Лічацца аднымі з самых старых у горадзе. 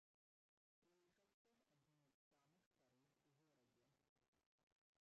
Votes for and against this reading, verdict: 0, 2, rejected